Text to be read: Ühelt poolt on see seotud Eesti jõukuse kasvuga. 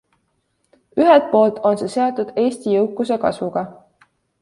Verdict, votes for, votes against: accepted, 2, 1